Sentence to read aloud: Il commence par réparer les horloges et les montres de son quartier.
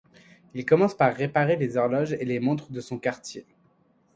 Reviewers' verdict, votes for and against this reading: accepted, 2, 0